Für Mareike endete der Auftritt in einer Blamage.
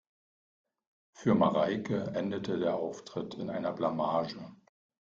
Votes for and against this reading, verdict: 2, 0, accepted